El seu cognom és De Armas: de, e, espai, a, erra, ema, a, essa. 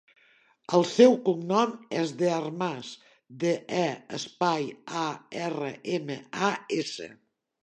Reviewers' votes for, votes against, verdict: 0, 2, rejected